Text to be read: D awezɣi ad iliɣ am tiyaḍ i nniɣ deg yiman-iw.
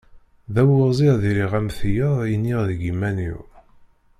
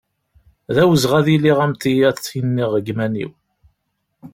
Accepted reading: second